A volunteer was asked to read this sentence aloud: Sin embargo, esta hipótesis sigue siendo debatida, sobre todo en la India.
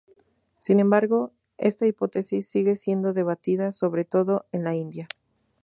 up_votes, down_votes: 0, 2